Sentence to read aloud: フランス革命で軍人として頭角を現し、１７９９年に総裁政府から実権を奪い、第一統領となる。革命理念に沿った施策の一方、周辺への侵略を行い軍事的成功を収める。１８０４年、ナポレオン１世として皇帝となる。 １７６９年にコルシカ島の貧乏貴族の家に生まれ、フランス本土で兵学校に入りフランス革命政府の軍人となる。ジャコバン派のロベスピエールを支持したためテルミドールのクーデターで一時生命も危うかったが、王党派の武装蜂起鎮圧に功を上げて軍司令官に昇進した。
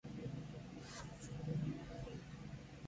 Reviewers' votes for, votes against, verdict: 0, 2, rejected